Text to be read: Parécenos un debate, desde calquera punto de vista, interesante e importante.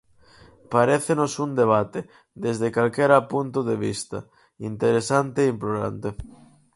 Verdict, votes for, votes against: rejected, 0, 4